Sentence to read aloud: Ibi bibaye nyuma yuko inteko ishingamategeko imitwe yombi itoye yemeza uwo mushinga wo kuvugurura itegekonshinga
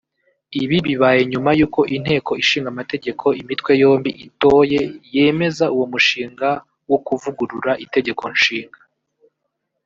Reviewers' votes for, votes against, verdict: 0, 2, rejected